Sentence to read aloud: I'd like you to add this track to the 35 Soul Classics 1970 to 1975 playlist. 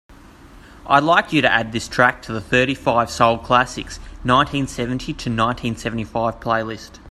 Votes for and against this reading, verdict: 0, 2, rejected